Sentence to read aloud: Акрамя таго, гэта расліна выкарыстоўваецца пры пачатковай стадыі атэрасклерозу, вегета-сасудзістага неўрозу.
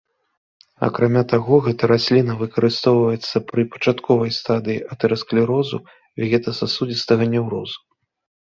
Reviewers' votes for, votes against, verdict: 2, 0, accepted